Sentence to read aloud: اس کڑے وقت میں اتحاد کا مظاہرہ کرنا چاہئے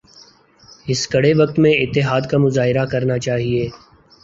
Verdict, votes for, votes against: accepted, 3, 0